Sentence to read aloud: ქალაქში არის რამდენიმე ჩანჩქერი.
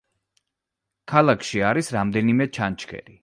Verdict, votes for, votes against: accepted, 2, 0